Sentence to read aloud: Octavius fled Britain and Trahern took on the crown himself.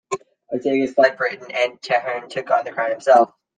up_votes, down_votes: 0, 2